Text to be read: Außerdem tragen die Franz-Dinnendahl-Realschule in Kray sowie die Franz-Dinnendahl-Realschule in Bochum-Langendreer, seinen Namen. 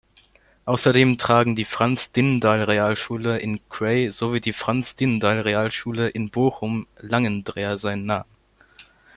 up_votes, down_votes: 1, 2